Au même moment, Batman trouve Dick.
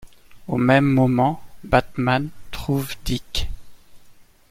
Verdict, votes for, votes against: accepted, 2, 0